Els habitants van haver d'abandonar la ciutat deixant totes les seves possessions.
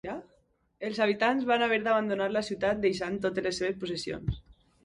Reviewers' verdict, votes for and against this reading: rejected, 0, 2